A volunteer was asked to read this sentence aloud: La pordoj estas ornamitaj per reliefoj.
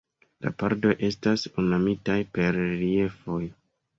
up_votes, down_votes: 2, 0